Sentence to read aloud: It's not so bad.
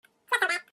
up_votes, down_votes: 0, 2